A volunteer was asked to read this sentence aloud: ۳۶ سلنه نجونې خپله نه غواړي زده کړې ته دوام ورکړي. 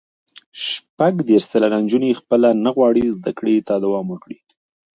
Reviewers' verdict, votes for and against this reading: rejected, 0, 2